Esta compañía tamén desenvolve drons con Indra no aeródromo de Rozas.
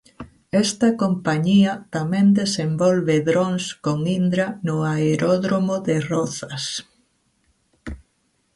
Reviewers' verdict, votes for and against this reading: accepted, 2, 0